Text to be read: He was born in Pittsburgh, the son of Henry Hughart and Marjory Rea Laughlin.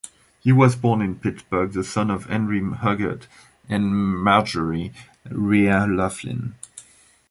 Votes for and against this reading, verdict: 0, 2, rejected